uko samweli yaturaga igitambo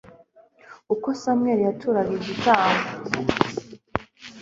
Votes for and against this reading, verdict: 2, 0, accepted